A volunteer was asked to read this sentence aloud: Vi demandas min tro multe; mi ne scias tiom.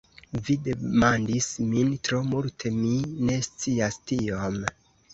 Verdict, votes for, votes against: rejected, 1, 2